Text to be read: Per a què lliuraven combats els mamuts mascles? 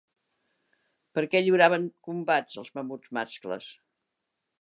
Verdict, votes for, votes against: rejected, 0, 2